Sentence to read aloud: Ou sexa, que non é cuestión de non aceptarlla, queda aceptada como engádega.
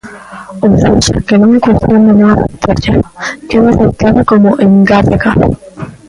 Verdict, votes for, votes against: rejected, 0, 2